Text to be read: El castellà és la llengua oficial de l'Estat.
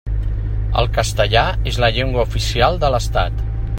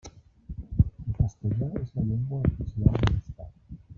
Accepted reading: first